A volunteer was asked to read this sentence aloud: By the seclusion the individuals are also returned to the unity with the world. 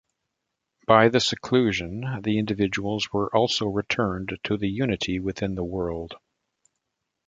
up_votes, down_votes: 1, 2